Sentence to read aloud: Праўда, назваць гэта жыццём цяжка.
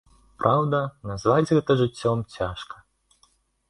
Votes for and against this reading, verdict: 2, 0, accepted